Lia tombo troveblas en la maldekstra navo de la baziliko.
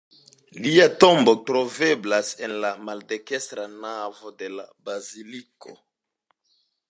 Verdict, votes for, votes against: rejected, 1, 2